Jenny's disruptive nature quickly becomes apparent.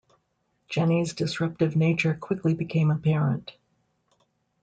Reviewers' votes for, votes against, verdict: 0, 2, rejected